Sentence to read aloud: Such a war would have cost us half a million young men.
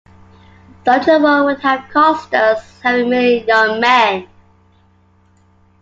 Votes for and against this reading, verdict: 0, 2, rejected